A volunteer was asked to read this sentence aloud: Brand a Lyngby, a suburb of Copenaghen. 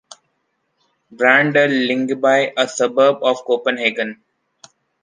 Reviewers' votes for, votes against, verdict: 2, 0, accepted